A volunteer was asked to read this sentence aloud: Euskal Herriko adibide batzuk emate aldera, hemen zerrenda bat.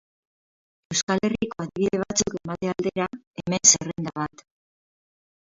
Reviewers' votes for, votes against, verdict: 0, 4, rejected